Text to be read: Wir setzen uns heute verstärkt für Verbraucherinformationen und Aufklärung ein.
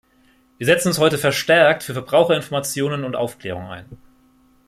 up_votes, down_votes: 2, 0